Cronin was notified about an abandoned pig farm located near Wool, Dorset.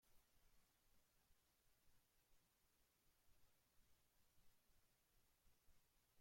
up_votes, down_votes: 0, 2